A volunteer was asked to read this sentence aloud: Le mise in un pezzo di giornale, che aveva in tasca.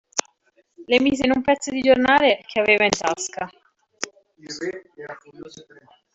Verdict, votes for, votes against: rejected, 1, 2